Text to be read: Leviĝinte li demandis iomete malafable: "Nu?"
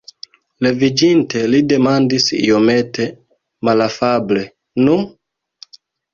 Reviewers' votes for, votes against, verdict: 1, 2, rejected